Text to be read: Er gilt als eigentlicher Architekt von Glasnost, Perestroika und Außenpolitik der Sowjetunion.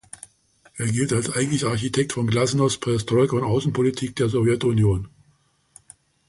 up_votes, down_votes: 1, 2